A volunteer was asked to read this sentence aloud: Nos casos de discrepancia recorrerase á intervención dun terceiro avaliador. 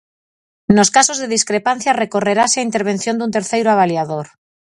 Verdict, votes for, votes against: rejected, 2, 2